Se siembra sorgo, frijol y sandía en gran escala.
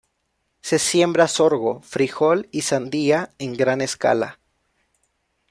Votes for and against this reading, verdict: 0, 2, rejected